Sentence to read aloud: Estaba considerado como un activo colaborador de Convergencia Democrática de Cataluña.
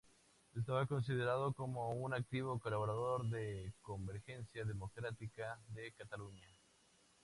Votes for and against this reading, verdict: 2, 2, rejected